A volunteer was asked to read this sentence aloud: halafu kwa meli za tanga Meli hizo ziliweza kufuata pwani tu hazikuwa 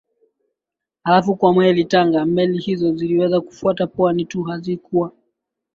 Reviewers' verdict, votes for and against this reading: accepted, 2, 1